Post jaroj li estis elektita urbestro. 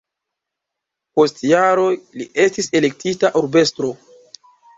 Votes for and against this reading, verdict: 2, 0, accepted